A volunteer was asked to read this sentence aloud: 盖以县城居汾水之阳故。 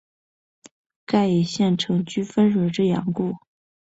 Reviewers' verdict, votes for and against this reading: accepted, 3, 0